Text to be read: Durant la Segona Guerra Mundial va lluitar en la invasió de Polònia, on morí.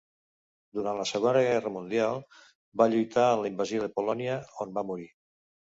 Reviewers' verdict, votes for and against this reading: rejected, 1, 2